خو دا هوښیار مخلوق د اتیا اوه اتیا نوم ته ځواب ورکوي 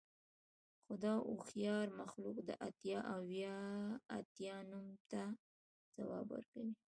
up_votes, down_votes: 2, 0